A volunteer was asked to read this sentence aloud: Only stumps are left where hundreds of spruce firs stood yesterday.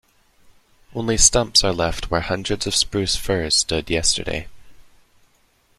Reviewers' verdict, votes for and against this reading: accepted, 2, 0